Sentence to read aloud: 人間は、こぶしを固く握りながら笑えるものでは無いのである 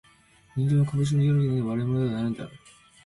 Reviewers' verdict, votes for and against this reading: rejected, 1, 2